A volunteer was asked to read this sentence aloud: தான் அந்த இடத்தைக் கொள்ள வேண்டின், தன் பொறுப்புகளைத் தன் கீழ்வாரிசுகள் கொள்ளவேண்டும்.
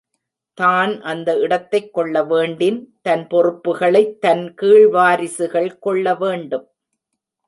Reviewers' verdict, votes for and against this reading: accepted, 2, 0